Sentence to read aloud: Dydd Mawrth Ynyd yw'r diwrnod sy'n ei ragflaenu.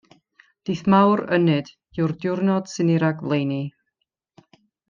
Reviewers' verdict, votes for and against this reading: rejected, 0, 2